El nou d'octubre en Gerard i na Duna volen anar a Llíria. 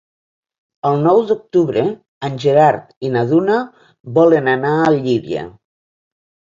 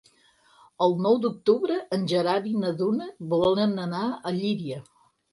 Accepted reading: second